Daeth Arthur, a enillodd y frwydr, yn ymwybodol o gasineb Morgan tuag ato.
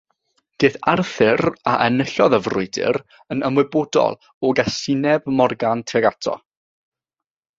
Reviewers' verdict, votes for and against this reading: accepted, 3, 0